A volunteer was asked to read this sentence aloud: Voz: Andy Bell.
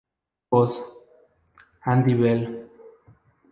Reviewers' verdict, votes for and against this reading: rejected, 2, 2